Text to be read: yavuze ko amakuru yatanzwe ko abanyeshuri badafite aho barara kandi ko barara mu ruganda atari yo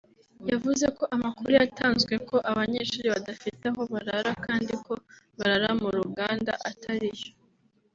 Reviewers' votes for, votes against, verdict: 2, 0, accepted